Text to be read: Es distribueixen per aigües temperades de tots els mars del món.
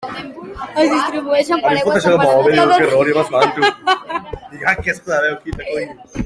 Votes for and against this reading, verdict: 0, 2, rejected